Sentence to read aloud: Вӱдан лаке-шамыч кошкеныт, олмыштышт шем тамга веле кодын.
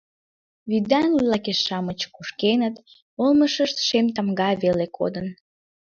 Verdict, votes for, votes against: rejected, 0, 2